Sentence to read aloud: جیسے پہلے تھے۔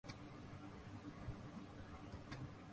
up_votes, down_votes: 0, 2